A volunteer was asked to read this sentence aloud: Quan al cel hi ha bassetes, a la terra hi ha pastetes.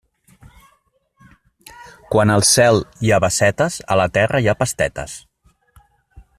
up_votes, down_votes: 2, 0